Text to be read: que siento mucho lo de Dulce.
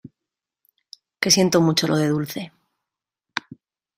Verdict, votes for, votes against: accepted, 2, 1